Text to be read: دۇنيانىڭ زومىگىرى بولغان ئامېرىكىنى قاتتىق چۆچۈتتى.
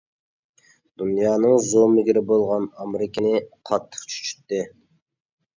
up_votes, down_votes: 1, 2